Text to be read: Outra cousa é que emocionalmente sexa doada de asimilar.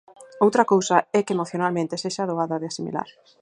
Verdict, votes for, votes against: accepted, 4, 0